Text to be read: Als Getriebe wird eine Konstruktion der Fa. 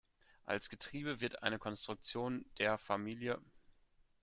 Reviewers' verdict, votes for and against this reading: rejected, 0, 2